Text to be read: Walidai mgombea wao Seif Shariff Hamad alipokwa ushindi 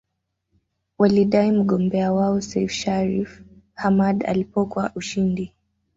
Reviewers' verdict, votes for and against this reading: accepted, 2, 1